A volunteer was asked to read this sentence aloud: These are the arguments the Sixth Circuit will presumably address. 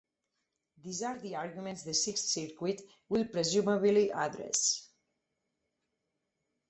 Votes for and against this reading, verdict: 4, 0, accepted